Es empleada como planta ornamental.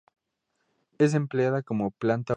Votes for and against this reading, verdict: 0, 2, rejected